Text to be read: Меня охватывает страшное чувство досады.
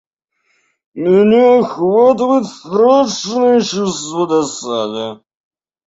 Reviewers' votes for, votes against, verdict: 0, 2, rejected